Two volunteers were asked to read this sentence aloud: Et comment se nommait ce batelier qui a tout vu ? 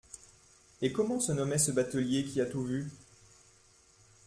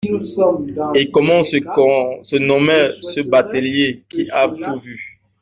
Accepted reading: first